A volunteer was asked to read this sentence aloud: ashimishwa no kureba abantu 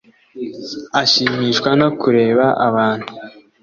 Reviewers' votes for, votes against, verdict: 2, 0, accepted